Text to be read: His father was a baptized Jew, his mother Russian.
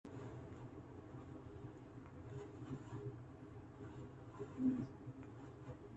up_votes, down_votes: 0, 2